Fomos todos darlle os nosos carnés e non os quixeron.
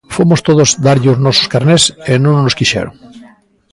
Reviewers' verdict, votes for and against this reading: accepted, 2, 1